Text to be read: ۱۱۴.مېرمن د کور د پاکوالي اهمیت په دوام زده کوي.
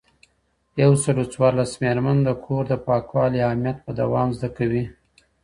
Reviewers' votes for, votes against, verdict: 0, 2, rejected